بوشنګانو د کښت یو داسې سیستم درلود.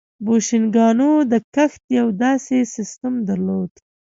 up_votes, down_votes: 2, 0